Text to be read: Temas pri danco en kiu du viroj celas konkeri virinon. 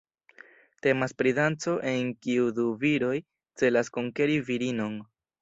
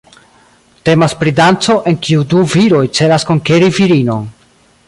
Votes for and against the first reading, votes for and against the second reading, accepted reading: 2, 0, 1, 2, first